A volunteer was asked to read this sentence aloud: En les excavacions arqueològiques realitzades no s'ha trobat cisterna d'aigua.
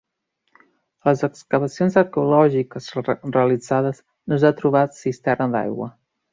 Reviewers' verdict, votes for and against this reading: rejected, 0, 2